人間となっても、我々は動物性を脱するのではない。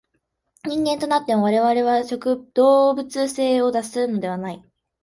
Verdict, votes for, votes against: rejected, 0, 2